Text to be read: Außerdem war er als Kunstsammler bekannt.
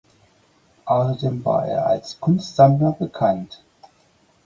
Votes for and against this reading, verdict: 2, 4, rejected